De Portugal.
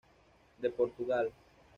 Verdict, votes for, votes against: accepted, 2, 0